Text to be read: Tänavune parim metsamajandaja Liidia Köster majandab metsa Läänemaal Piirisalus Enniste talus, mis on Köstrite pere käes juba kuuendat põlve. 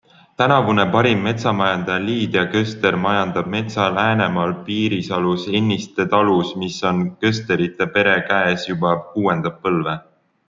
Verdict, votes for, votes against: rejected, 1, 2